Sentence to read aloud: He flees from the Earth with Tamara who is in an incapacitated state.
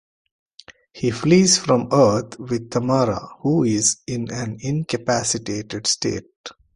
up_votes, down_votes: 1, 2